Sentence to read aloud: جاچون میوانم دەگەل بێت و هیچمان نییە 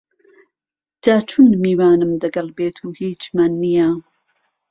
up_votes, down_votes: 2, 0